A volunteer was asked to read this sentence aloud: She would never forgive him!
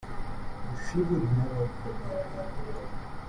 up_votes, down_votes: 0, 2